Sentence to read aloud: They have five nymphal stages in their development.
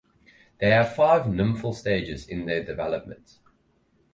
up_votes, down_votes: 4, 0